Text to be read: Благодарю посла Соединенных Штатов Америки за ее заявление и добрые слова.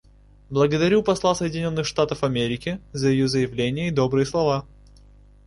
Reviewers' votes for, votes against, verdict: 2, 0, accepted